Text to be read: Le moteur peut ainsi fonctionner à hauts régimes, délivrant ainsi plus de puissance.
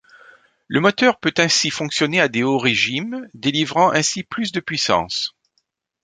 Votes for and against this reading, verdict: 1, 2, rejected